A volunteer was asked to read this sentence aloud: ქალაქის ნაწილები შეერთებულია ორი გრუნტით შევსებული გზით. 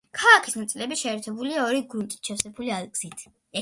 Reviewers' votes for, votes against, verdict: 2, 0, accepted